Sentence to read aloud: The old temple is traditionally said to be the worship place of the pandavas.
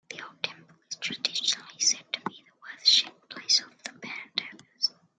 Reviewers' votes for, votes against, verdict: 0, 2, rejected